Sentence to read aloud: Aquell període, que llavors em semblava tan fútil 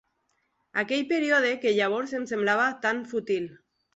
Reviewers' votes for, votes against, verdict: 1, 2, rejected